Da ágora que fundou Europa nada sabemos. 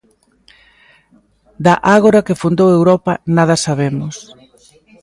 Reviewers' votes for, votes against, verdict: 1, 2, rejected